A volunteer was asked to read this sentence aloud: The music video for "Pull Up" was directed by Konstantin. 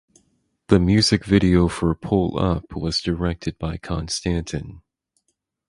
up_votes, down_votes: 4, 0